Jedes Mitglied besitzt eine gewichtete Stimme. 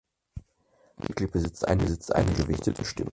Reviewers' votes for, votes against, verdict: 0, 4, rejected